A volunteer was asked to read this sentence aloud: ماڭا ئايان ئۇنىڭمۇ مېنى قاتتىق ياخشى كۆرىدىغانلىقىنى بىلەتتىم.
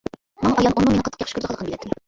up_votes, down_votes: 0, 2